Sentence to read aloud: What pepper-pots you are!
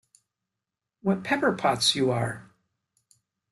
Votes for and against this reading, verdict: 2, 0, accepted